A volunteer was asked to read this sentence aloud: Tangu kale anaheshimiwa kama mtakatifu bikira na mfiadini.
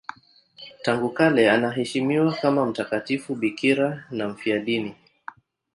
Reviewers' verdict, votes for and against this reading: accepted, 7, 3